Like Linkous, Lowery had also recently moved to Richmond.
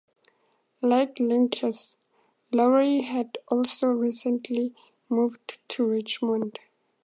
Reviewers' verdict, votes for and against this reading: accepted, 2, 0